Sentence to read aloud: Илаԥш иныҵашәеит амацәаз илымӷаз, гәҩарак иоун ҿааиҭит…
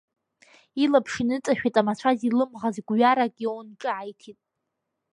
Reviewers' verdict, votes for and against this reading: rejected, 1, 3